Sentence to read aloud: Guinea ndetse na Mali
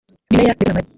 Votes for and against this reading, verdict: 0, 2, rejected